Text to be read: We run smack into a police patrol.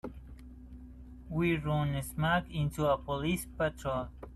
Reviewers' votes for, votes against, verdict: 0, 2, rejected